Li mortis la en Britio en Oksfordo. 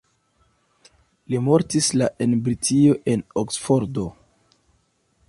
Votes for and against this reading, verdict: 2, 0, accepted